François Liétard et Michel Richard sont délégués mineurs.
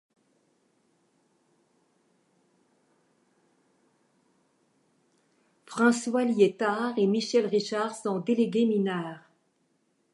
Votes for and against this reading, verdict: 0, 2, rejected